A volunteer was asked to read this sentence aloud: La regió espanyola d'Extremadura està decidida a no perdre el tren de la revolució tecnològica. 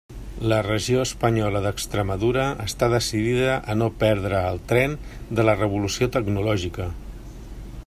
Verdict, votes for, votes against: accepted, 3, 0